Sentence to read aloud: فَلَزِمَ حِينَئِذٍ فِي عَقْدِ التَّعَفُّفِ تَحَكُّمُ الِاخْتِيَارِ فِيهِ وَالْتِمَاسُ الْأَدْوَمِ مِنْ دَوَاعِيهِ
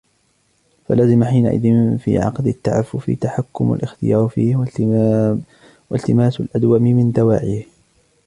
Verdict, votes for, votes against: rejected, 0, 2